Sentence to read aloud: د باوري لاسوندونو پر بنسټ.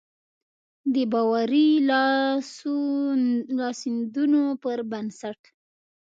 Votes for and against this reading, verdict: 1, 3, rejected